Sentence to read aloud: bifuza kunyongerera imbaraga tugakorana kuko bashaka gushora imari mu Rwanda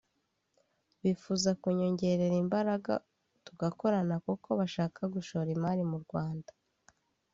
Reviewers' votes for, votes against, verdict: 2, 0, accepted